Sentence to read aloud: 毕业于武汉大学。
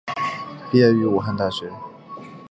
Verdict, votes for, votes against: accepted, 5, 0